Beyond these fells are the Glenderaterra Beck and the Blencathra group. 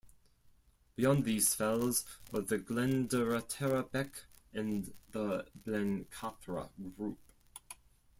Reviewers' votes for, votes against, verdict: 2, 4, rejected